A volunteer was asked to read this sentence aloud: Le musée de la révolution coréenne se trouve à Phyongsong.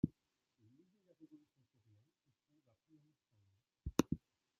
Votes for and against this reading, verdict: 0, 2, rejected